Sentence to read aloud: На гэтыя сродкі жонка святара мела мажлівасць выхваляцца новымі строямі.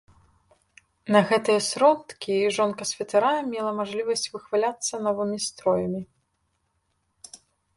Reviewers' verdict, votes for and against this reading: accepted, 2, 0